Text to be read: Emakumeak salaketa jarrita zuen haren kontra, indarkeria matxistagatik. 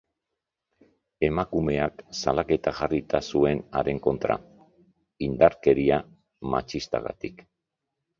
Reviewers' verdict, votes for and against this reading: accepted, 2, 0